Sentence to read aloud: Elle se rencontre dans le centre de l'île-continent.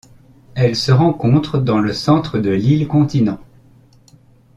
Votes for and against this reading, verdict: 2, 0, accepted